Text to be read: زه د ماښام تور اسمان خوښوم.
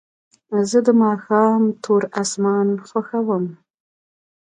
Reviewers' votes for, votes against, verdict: 2, 0, accepted